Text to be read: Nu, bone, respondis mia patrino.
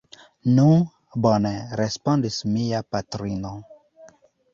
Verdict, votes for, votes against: rejected, 1, 2